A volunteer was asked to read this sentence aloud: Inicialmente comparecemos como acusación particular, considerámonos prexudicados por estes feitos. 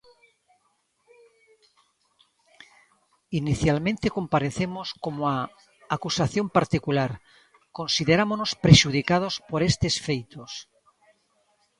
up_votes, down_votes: 1, 2